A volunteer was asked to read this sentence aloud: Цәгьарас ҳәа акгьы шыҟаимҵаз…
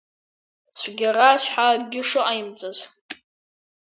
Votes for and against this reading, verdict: 1, 2, rejected